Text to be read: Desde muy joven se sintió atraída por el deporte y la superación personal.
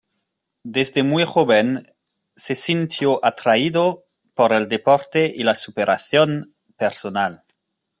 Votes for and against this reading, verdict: 0, 2, rejected